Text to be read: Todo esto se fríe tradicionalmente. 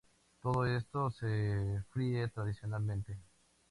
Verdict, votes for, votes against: accepted, 2, 0